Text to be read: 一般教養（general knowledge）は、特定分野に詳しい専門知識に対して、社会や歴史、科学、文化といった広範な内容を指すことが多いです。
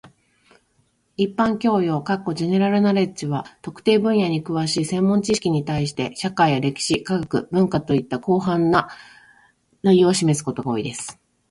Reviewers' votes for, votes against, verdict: 2, 1, accepted